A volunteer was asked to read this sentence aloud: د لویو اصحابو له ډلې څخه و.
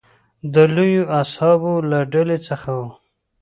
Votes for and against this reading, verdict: 2, 1, accepted